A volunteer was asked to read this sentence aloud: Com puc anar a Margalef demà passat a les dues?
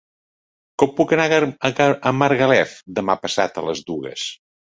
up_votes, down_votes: 0, 2